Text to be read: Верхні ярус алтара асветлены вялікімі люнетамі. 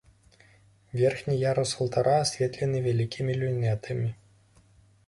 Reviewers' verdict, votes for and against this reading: accepted, 2, 0